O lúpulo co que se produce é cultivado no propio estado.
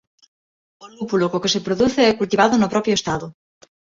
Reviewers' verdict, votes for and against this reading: accepted, 2, 0